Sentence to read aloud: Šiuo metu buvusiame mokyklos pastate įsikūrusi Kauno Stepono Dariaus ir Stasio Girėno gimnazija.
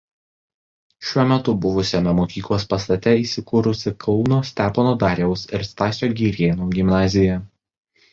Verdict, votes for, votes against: accepted, 2, 1